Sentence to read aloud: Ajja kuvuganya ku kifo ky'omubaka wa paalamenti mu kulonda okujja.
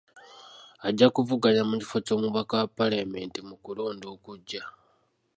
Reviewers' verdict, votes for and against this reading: accepted, 3, 0